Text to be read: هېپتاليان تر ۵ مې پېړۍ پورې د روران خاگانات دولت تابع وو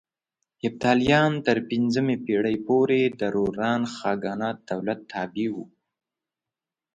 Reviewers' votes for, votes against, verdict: 0, 2, rejected